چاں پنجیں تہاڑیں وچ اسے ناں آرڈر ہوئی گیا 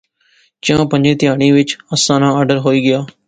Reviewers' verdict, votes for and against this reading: accepted, 2, 0